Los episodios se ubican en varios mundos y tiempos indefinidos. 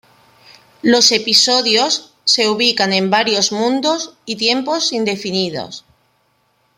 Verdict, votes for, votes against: accepted, 2, 0